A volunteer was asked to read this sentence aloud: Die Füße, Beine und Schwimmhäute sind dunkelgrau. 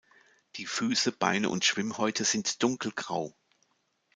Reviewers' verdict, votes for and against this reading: accepted, 2, 0